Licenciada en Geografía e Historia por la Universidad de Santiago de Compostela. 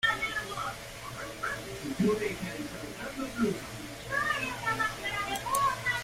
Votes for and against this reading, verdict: 0, 2, rejected